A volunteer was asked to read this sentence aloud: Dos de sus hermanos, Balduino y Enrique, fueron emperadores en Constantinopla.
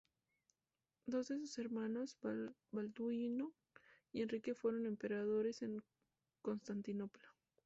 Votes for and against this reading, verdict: 0, 2, rejected